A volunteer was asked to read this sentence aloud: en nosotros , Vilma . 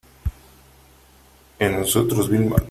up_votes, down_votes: 3, 0